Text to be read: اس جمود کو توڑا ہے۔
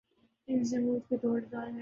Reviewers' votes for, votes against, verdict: 3, 4, rejected